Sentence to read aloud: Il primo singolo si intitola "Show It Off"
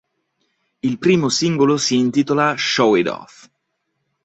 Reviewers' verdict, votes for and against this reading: accepted, 2, 0